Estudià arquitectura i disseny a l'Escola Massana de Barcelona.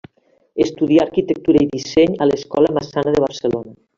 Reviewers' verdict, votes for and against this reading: accepted, 2, 0